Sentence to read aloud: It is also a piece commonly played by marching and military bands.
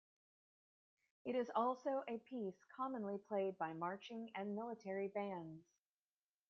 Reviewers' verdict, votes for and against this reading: accepted, 2, 0